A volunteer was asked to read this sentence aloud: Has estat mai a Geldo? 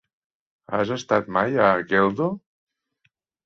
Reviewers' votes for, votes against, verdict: 3, 0, accepted